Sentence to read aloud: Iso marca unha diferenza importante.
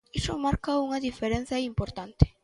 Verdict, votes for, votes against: accepted, 2, 0